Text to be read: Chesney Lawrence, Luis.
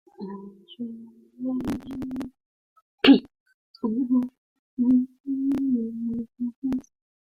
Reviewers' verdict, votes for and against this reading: rejected, 0, 2